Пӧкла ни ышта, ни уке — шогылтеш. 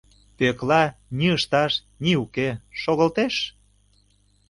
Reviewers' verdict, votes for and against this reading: rejected, 0, 2